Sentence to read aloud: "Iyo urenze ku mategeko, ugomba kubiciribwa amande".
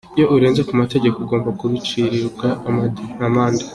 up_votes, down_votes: 2, 0